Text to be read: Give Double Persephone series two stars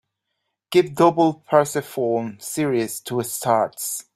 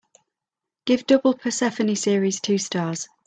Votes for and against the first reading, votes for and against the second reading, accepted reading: 1, 2, 2, 1, second